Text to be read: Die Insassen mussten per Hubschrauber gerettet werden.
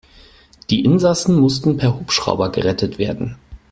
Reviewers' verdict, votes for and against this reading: accepted, 4, 0